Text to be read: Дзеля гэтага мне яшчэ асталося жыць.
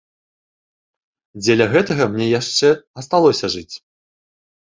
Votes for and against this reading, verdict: 2, 0, accepted